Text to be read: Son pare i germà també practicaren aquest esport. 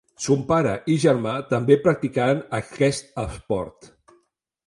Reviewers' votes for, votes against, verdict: 1, 2, rejected